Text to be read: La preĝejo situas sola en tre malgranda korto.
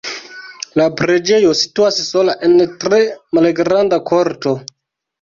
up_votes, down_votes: 2, 0